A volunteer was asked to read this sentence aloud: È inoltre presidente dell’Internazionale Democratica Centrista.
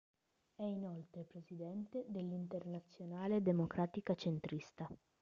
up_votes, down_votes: 0, 2